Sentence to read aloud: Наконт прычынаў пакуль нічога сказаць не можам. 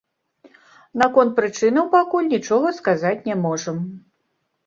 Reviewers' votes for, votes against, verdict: 2, 0, accepted